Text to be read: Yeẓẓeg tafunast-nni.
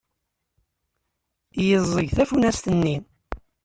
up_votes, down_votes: 2, 0